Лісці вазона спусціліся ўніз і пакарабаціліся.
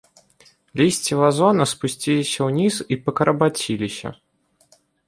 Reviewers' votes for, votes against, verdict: 2, 0, accepted